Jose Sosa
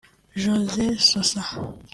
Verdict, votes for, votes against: rejected, 1, 2